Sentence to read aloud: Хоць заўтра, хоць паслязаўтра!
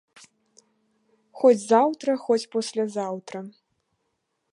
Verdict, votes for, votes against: rejected, 1, 3